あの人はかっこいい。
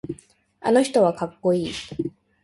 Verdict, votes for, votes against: accepted, 2, 0